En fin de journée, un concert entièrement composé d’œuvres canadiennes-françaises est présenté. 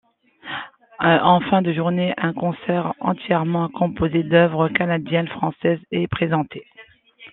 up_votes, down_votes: 2, 0